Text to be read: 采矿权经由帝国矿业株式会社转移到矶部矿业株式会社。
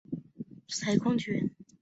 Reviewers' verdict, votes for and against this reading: rejected, 1, 2